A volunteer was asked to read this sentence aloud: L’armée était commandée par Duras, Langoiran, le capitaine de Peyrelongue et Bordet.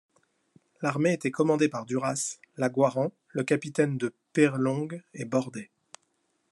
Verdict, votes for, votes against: rejected, 0, 2